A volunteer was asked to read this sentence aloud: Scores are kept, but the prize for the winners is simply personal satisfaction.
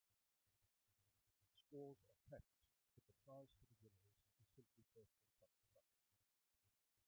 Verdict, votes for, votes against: rejected, 0, 2